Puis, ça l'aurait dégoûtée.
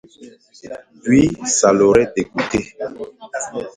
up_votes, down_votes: 2, 0